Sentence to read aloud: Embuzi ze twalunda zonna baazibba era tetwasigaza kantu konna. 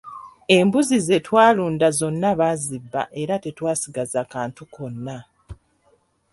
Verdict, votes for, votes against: accepted, 2, 0